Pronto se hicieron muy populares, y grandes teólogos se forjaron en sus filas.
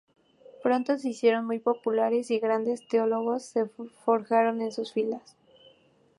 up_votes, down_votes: 2, 0